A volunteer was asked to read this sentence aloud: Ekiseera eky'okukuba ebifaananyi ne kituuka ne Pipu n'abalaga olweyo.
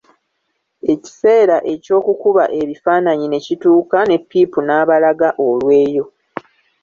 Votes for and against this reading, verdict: 1, 2, rejected